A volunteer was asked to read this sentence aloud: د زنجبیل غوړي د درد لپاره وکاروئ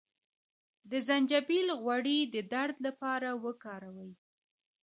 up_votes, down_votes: 2, 1